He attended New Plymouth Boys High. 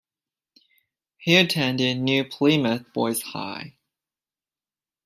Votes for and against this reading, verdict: 2, 1, accepted